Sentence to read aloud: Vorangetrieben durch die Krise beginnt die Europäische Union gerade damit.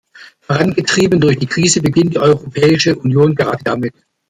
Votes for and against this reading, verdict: 1, 2, rejected